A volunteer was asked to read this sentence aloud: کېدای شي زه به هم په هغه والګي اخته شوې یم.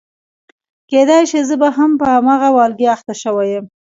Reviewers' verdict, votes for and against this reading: rejected, 0, 2